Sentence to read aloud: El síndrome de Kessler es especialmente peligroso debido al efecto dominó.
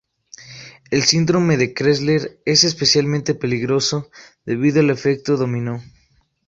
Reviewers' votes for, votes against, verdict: 0, 2, rejected